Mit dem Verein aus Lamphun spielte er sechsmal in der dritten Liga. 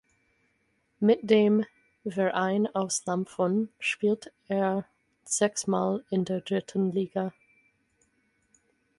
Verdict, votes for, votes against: rejected, 0, 4